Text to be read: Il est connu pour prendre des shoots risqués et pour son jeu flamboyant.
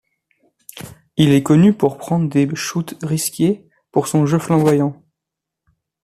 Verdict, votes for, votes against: rejected, 0, 2